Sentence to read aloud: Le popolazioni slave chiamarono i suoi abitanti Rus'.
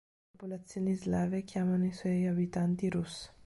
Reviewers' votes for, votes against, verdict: 2, 0, accepted